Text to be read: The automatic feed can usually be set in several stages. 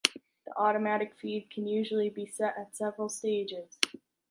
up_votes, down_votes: 2, 0